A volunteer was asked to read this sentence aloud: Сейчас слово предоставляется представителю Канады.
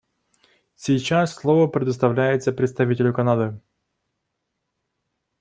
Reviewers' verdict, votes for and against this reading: accepted, 2, 0